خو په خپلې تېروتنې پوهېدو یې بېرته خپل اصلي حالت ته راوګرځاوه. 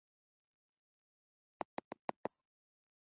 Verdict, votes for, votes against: rejected, 0, 2